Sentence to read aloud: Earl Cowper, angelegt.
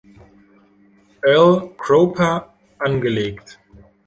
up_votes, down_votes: 1, 2